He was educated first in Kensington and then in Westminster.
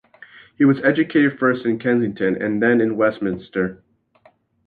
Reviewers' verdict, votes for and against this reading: accepted, 2, 0